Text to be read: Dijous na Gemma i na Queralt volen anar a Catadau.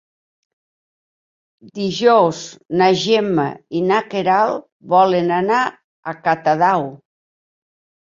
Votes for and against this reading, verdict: 3, 0, accepted